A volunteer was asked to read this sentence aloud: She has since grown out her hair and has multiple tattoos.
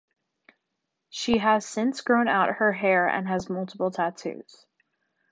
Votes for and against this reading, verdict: 2, 0, accepted